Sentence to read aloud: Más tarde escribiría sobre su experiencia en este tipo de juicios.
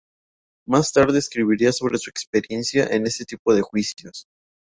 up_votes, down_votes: 0, 2